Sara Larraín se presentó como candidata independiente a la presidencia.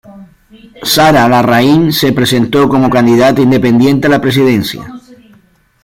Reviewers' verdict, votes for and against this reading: accepted, 2, 0